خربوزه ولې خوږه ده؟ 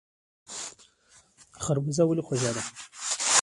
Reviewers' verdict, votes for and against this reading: rejected, 0, 2